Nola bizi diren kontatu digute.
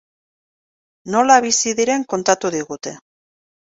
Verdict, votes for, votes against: accepted, 2, 0